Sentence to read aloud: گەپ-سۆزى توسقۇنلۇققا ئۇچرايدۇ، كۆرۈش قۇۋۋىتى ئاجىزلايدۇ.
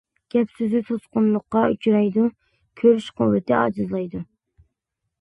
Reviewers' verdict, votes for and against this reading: accepted, 2, 0